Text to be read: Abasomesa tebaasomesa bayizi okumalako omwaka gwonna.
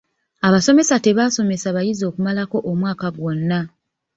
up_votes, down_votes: 2, 0